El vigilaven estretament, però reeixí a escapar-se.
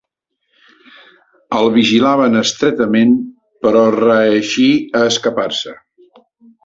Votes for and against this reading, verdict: 3, 0, accepted